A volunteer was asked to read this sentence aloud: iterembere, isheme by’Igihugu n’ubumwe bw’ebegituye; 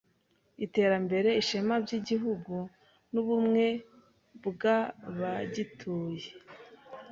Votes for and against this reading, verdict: 0, 2, rejected